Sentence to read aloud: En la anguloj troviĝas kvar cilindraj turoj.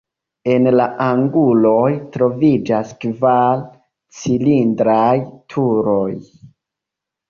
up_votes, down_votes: 2, 0